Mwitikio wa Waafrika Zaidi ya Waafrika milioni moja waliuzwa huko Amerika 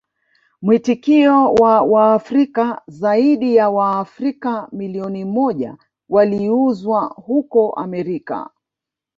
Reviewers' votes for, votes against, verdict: 1, 2, rejected